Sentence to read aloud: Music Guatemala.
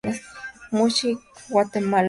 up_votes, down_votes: 2, 0